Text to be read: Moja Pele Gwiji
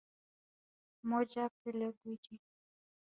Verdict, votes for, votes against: rejected, 0, 3